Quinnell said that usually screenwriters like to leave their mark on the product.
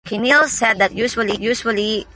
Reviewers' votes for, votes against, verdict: 0, 2, rejected